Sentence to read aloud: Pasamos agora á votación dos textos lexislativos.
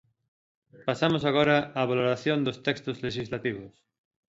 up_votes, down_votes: 1, 2